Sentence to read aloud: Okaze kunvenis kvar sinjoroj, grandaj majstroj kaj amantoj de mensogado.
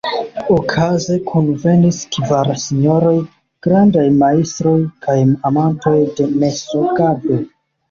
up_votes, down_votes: 1, 2